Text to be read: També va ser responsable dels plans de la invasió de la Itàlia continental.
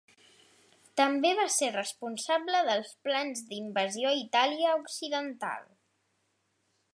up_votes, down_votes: 1, 2